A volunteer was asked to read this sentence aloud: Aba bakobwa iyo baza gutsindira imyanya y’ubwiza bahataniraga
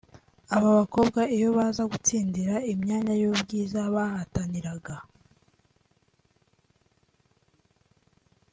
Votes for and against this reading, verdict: 2, 0, accepted